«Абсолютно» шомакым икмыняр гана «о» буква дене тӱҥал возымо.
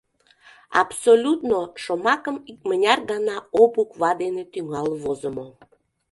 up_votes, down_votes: 2, 0